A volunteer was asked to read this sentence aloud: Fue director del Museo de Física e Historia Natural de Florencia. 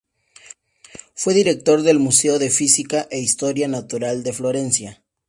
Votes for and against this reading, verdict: 4, 0, accepted